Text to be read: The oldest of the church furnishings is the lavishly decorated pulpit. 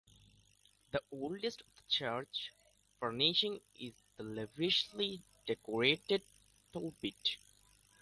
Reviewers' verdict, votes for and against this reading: rejected, 1, 2